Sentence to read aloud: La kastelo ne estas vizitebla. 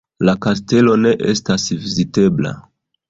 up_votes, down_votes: 2, 1